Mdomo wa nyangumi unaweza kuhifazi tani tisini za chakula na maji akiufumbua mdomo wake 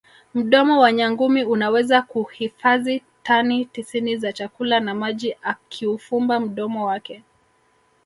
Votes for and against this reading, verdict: 0, 2, rejected